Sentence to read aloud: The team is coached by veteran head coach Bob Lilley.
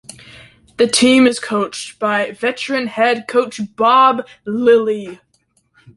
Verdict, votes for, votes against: accepted, 2, 0